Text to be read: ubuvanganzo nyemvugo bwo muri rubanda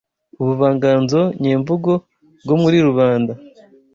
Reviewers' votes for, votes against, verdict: 2, 0, accepted